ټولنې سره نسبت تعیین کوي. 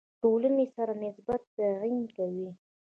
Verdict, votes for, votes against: accepted, 2, 0